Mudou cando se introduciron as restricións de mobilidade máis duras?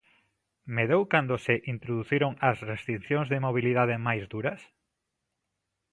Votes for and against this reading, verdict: 0, 2, rejected